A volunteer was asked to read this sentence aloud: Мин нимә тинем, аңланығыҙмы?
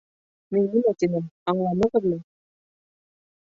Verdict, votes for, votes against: rejected, 2, 3